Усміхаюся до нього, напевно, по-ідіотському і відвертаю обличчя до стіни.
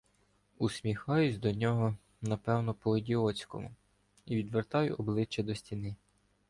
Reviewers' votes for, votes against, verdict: 1, 2, rejected